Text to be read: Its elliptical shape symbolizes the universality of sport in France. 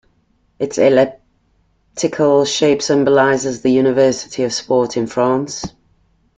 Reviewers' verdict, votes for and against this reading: rejected, 0, 2